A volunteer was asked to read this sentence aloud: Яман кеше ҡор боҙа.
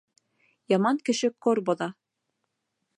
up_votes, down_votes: 1, 2